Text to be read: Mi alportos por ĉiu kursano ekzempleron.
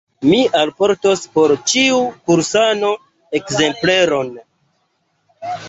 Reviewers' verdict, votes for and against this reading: accepted, 2, 0